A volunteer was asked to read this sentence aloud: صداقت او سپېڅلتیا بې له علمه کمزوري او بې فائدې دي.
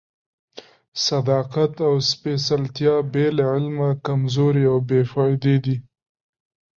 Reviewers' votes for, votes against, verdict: 2, 0, accepted